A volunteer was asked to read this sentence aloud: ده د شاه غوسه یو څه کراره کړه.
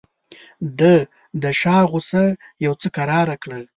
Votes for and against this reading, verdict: 2, 0, accepted